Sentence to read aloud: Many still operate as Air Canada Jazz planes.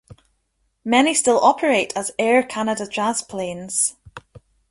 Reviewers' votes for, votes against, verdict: 2, 0, accepted